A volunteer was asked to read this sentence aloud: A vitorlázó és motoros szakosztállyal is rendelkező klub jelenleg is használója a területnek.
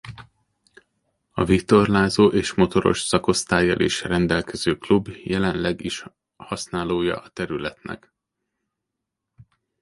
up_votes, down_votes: 1, 2